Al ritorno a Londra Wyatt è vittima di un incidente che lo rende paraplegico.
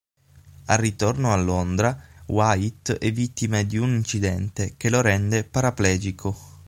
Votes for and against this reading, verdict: 3, 6, rejected